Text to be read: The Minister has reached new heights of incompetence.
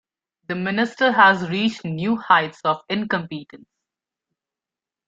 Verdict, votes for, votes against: rejected, 1, 2